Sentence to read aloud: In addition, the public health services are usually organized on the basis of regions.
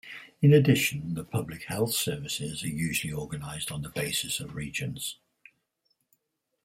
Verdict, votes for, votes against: rejected, 2, 4